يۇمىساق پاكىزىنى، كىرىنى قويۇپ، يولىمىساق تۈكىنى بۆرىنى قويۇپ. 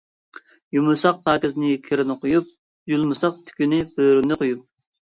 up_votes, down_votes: 2, 1